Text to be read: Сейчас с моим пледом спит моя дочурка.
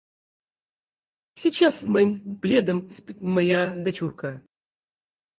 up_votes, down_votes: 2, 4